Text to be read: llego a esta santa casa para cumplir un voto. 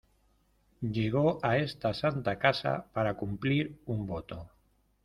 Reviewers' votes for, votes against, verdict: 2, 0, accepted